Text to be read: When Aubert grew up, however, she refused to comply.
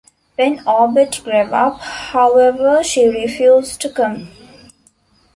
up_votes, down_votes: 0, 2